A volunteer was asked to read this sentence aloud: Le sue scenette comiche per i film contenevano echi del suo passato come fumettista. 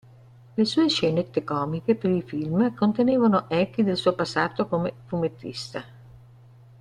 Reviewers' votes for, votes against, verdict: 2, 1, accepted